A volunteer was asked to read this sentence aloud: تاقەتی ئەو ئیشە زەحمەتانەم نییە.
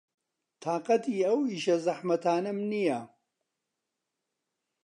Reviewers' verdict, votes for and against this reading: accepted, 2, 0